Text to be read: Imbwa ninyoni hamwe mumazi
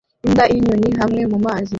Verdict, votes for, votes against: rejected, 0, 2